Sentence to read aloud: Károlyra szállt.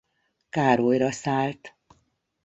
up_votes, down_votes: 2, 0